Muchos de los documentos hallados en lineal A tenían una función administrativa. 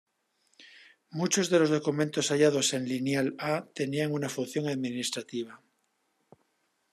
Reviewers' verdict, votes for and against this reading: accepted, 2, 0